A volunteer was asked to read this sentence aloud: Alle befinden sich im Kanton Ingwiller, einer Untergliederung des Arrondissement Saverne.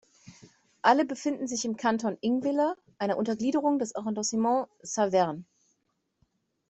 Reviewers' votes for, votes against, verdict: 2, 0, accepted